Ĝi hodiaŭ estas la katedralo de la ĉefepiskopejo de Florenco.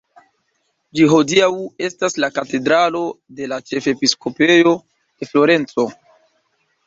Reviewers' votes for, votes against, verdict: 0, 2, rejected